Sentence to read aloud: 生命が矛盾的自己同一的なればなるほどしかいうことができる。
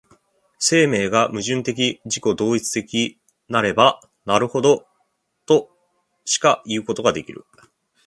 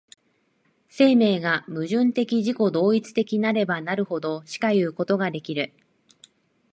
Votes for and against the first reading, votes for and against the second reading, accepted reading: 0, 2, 4, 2, second